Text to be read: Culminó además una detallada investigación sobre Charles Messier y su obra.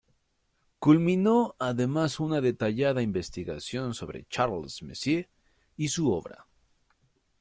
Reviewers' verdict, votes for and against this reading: accepted, 2, 0